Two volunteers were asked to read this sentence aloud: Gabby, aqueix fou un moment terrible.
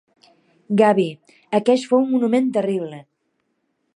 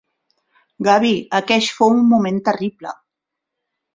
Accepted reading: first